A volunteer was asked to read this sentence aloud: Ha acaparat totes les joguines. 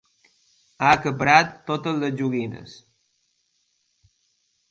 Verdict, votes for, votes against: accepted, 2, 0